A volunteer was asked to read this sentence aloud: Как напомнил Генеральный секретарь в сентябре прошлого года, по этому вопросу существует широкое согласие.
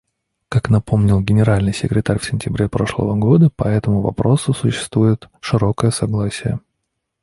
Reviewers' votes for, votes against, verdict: 2, 0, accepted